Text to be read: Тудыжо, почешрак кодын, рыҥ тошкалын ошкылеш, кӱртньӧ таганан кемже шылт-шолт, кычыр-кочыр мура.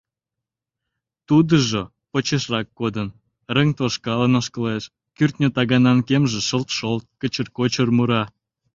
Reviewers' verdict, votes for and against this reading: accepted, 2, 0